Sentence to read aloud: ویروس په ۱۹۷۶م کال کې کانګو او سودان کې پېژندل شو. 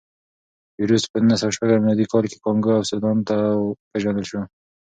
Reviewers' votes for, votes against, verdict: 0, 2, rejected